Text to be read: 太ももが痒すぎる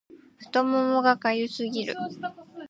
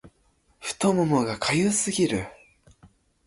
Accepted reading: second